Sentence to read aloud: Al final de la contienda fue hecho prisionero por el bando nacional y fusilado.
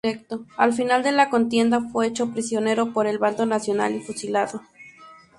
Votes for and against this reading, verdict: 0, 2, rejected